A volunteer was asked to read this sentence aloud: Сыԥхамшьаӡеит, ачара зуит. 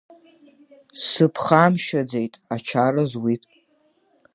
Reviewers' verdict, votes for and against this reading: accepted, 2, 0